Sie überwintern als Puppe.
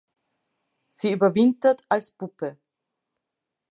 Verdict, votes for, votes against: rejected, 0, 2